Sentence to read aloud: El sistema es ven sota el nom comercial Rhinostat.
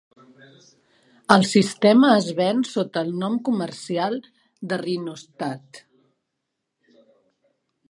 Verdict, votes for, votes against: rejected, 0, 2